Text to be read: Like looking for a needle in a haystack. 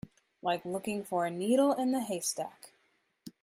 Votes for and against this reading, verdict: 1, 2, rejected